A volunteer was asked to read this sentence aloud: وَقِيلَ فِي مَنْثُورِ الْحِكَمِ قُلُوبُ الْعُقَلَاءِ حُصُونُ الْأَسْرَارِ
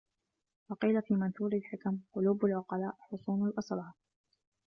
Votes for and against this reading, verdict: 0, 2, rejected